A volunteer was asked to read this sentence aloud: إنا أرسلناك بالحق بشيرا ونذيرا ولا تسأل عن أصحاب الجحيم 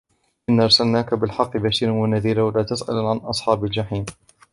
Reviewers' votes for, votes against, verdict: 2, 0, accepted